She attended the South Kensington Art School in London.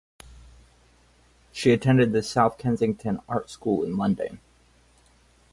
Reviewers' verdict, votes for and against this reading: accepted, 4, 0